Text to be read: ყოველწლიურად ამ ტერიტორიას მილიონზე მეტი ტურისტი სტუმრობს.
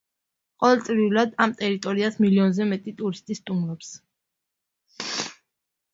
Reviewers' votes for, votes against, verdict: 2, 0, accepted